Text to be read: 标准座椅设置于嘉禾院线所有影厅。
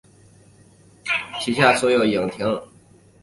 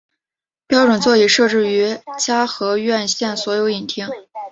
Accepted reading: second